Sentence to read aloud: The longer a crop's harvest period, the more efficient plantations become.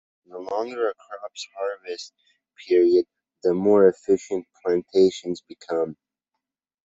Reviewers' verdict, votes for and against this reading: accepted, 2, 0